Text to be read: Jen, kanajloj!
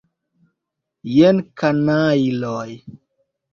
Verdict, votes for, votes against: accepted, 2, 1